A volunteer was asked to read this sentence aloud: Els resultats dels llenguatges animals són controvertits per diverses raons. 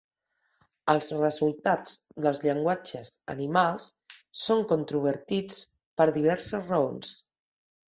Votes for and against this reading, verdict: 6, 0, accepted